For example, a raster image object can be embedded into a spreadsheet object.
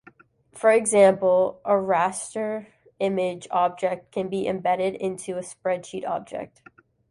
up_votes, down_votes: 2, 0